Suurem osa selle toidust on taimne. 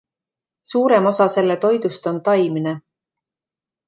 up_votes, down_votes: 2, 0